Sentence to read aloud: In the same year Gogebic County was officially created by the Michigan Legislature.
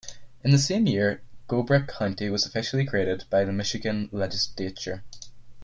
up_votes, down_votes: 2, 6